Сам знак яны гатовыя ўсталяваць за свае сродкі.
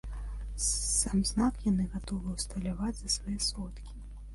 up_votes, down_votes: 1, 2